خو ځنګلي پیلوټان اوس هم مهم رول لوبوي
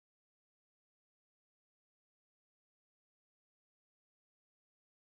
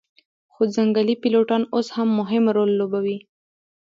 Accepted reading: first